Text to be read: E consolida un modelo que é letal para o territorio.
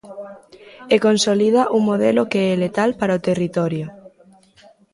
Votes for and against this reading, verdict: 2, 0, accepted